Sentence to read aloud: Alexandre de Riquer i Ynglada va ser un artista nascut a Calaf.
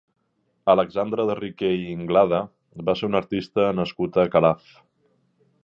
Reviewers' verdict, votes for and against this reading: accepted, 2, 0